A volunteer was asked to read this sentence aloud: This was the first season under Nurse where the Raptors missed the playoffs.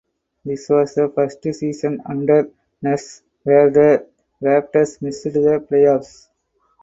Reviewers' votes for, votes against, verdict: 2, 4, rejected